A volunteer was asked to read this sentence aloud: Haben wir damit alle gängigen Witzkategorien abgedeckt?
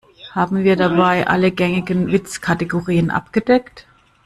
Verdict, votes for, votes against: rejected, 0, 2